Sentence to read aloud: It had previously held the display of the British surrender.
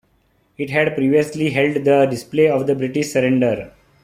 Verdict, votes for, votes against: accepted, 2, 0